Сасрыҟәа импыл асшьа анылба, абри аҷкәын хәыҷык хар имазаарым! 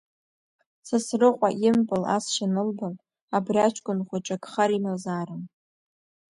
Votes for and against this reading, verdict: 2, 0, accepted